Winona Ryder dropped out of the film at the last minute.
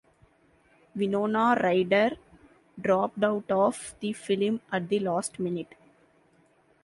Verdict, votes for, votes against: accepted, 2, 0